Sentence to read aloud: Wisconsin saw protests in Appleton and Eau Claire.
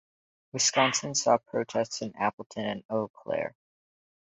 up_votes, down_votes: 2, 2